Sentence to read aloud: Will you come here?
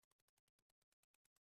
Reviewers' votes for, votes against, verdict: 0, 2, rejected